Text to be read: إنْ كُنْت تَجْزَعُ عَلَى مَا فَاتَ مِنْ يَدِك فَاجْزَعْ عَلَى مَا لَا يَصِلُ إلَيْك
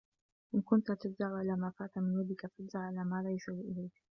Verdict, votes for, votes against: rejected, 1, 2